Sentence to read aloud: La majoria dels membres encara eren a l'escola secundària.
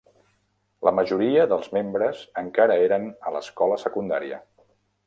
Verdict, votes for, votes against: accepted, 3, 0